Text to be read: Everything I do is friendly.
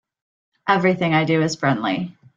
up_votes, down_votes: 3, 0